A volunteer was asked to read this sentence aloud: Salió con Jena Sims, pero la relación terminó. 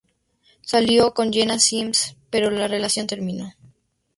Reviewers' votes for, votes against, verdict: 4, 0, accepted